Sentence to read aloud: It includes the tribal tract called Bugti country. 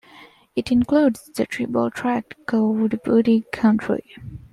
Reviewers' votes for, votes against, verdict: 2, 0, accepted